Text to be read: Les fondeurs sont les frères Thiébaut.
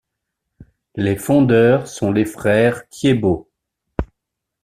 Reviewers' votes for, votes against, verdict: 2, 0, accepted